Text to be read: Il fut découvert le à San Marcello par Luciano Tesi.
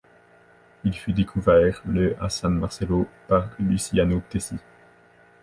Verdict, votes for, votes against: accepted, 2, 0